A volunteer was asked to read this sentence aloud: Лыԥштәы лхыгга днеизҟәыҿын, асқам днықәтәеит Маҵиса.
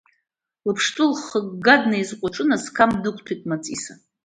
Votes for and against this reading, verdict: 2, 0, accepted